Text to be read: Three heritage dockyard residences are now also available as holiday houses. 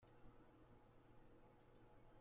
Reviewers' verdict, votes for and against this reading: rejected, 0, 2